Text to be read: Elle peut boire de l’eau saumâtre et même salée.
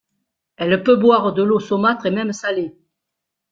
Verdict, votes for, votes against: accepted, 2, 0